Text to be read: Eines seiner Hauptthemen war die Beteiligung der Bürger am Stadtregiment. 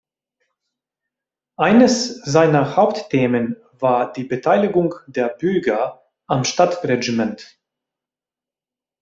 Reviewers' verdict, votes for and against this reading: rejected, 0, 2